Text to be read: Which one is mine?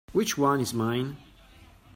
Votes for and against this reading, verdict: 2, 0, accepted